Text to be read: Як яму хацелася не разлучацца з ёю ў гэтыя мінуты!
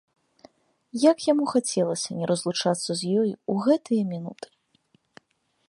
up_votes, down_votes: 3, 0